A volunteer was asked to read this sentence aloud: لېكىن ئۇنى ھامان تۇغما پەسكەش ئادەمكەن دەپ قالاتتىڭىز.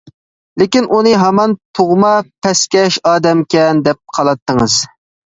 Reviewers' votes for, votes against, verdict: 2, 0, accepted